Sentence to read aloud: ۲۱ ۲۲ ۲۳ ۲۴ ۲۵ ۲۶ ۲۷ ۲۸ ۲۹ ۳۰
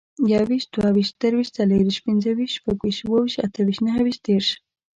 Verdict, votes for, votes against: rejected, 0, 2